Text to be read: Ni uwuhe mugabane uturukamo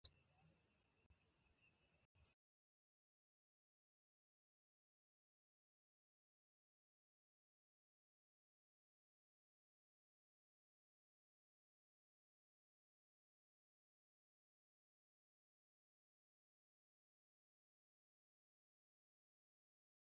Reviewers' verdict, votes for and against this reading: rejected, 0, 2